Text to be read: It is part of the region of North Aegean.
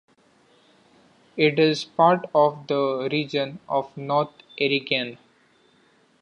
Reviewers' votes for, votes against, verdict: 0, 2, rejected